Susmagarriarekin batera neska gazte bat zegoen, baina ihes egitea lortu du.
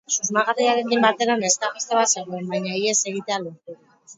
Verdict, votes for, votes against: rejected, 2, 6